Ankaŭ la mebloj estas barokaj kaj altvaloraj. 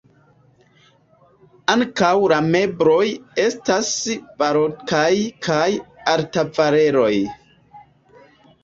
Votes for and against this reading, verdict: 0, 2, rejected